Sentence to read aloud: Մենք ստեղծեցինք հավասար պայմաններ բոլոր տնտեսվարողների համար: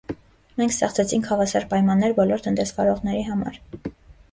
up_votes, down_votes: 2, 0